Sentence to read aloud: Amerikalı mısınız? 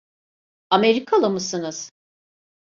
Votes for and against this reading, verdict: 2, 0, accepted